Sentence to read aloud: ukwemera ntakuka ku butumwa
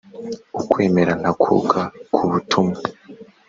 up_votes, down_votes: 2, 0